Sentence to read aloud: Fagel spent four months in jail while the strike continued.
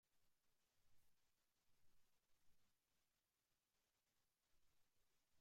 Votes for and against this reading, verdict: 0, 2, rejected